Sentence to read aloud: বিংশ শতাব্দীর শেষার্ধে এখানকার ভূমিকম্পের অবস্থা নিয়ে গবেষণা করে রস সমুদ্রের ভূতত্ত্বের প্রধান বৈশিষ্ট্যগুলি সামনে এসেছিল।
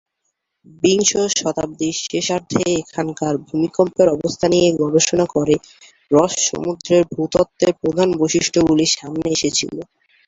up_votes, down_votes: 2, 2